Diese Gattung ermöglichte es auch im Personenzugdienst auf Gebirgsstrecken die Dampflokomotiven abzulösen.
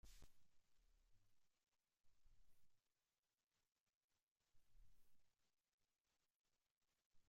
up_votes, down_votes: 0, 2